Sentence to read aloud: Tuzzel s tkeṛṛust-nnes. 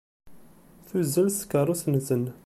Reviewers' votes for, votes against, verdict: 0, 2, rejected